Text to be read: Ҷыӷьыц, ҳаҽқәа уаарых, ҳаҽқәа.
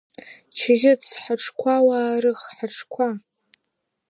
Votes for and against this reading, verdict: 2, 0, accepted